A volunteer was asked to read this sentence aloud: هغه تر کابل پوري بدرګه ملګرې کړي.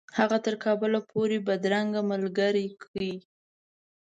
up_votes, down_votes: 1, 2